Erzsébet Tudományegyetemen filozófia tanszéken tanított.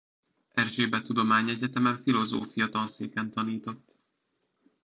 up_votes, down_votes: 2, 1